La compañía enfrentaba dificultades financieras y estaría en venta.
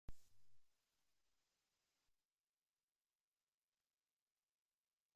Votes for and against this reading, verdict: 0, 2, rejected